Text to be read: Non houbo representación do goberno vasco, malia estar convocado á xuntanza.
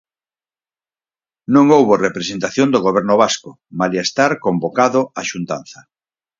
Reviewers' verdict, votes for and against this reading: accepted, 4, 0